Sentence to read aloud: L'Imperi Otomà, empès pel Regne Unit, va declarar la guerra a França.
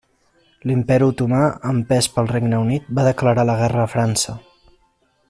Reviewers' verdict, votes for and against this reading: accepted, 3, 0